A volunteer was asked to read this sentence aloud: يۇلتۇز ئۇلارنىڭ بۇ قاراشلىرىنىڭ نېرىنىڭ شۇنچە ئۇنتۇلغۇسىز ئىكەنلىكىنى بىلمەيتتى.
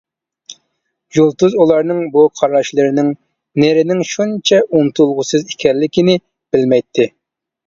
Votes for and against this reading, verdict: 2, 0, accepted